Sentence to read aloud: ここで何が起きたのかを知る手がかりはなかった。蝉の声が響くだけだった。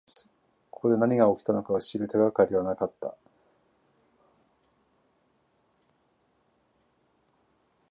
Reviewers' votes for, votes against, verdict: 1, 2, rejected